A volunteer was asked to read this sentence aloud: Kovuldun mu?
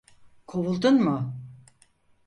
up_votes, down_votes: 4, 0